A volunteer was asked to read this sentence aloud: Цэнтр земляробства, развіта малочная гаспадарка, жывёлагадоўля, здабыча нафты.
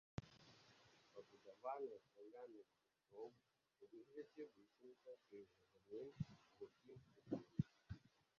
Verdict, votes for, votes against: rejected, 0, 2